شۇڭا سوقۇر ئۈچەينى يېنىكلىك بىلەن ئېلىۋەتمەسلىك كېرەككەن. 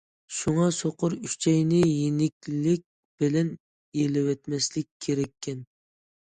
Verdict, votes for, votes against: accepted, 2, 0